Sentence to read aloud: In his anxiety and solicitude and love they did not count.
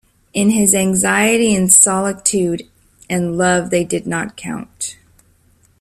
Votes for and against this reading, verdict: 1, 2, rejected